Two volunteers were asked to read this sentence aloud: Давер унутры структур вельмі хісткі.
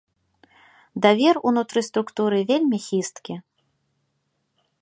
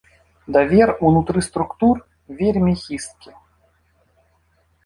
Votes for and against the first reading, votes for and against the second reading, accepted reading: 0, 2, 2, 0, second